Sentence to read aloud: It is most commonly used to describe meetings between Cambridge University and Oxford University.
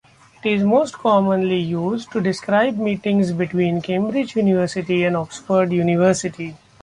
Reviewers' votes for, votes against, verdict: 3, 0, accepted